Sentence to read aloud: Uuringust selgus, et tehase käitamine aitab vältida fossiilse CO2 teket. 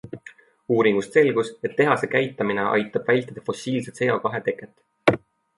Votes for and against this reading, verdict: 0, 2, rejected